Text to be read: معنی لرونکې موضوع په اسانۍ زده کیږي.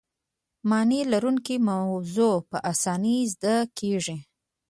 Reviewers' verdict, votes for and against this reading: accepted, 2, 0